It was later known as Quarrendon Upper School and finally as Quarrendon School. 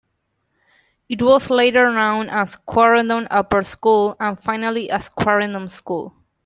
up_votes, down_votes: 2, 1